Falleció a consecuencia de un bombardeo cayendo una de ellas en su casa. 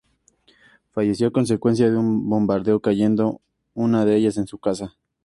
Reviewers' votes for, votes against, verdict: 6, 0, accepted